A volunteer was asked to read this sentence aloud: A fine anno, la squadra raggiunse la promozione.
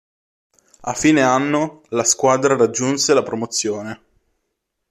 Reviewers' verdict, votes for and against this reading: accepted, 2, 0